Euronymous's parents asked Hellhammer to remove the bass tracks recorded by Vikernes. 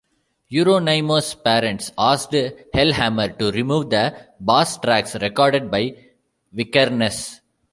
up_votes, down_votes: 0, 2